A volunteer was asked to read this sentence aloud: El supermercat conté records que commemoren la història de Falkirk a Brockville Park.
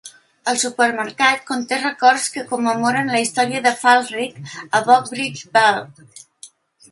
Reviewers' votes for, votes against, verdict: 2, 0, accepted